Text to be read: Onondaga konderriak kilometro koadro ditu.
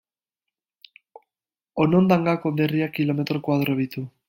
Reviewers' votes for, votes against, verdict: 0, 2, rejected